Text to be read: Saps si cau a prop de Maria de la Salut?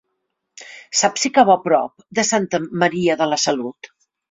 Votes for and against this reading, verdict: 1, 2, rejected